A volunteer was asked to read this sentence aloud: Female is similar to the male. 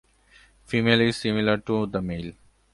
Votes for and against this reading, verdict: 2, 0, accepted